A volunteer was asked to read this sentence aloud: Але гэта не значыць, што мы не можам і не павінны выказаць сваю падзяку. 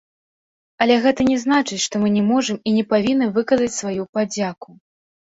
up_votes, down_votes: 0, 2